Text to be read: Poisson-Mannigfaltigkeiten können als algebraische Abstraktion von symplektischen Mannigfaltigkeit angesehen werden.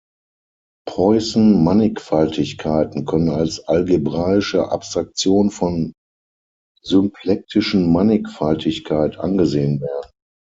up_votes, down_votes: 3, 6